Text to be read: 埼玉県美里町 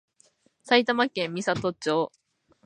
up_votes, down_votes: 2, 0